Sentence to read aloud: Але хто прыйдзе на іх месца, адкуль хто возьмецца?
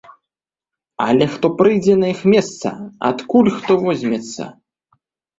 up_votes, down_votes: 2, 0